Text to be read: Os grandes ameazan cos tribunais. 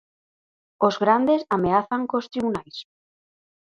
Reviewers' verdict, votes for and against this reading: accepted, 4, 0